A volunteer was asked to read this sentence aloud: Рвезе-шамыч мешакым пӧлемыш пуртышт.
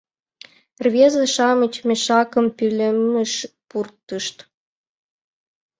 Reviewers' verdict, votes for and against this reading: accepted, 2, 0